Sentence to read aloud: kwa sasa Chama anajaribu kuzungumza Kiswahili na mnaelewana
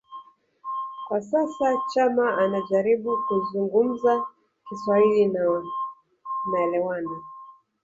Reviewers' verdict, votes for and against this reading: rejected, 2, 3